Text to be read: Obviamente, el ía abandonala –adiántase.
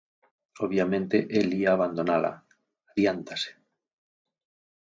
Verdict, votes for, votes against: rejected, 0, 4